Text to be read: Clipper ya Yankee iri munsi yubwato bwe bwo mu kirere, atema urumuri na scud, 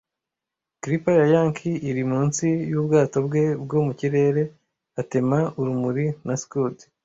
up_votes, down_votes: 1, 2